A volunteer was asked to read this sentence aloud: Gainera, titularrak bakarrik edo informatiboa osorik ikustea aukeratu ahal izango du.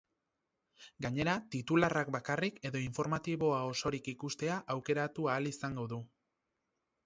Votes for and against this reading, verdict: 2, 2, rejected